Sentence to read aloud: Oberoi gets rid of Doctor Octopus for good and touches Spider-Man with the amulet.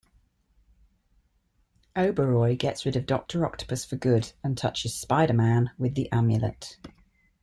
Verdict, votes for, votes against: accepted, 2, 0